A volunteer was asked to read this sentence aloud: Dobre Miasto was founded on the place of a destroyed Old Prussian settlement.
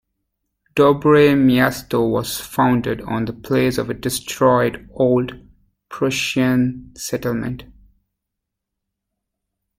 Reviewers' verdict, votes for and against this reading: rejected, 1, 2